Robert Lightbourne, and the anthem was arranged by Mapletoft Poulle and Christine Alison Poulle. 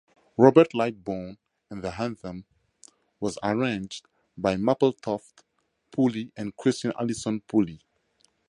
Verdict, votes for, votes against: accepted, 2, 0